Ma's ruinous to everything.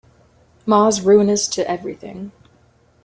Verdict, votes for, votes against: accepted, 2, 1